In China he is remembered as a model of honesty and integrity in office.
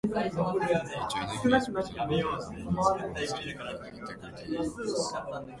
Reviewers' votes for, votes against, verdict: 0, 2, rejected